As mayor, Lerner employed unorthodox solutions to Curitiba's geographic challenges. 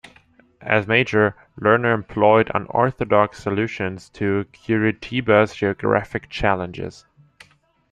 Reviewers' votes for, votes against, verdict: 0, 2, rejected